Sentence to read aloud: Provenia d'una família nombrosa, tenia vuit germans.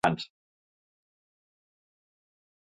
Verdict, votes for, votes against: rejected, 0, 3